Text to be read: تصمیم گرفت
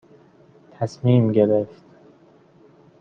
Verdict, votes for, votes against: accepted, 2, 0